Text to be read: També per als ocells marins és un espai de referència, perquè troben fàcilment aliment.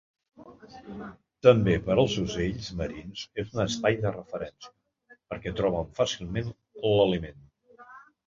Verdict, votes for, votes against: rejected, 1, 2